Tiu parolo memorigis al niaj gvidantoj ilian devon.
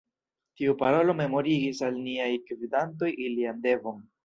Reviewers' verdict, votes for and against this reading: rejected, 0, 2